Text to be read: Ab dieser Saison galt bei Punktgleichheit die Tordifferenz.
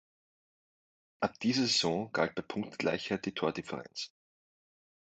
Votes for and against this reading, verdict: 2, 0, accepted